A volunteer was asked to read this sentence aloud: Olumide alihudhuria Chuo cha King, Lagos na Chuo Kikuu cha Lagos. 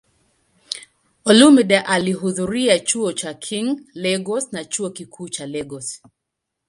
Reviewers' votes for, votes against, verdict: 2, 1, accepted